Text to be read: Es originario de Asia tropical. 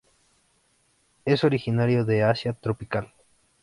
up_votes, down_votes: 3, 0